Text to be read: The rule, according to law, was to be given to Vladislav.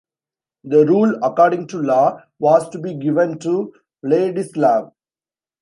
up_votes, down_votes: 1, 2